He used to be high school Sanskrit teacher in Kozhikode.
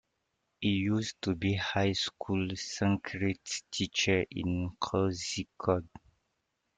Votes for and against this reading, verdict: 2, 0, accepted